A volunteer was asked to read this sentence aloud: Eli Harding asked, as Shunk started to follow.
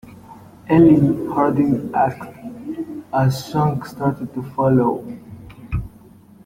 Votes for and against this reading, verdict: 0, 2, rejected